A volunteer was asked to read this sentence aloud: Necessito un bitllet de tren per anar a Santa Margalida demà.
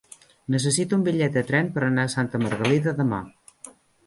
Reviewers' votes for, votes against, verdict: 3, 0, accepted